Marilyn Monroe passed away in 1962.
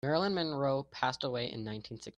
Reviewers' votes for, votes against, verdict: 0, 2, rejected